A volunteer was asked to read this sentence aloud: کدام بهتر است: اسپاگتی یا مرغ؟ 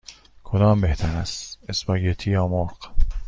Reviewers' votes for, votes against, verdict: 2, 0, accepted